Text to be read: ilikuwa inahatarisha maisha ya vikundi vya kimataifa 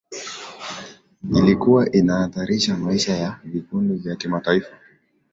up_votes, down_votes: 2, 0